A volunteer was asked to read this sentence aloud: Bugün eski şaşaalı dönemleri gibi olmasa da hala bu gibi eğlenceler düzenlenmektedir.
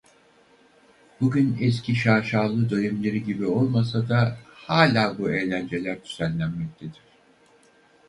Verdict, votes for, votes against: rejected, 2, 4